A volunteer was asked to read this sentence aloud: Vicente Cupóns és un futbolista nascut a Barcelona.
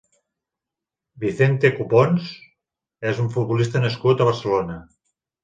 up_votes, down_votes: 3, 0